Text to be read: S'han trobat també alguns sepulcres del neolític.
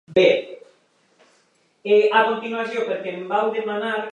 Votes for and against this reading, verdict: 0, 3, rejected